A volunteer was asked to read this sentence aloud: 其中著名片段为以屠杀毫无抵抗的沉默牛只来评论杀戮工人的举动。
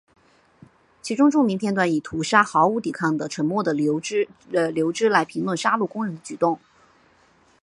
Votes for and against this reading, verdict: 0, 2, rejected